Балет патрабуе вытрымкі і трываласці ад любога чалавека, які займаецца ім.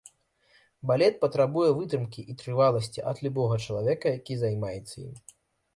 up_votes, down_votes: 2, 0